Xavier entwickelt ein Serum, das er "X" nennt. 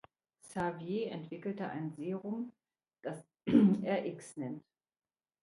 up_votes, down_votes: 0, 3